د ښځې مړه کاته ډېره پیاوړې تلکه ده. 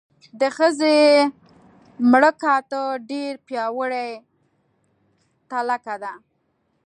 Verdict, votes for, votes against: rejected, 0, 2